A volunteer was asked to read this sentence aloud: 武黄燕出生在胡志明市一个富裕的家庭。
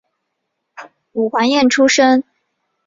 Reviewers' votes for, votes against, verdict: 0, 3, rejected